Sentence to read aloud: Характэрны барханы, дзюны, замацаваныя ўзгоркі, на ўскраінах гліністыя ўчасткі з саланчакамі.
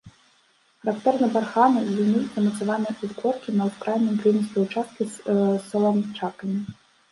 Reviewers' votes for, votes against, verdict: 1, 2, rejected